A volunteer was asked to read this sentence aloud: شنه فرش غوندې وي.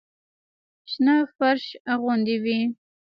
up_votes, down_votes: 1, 2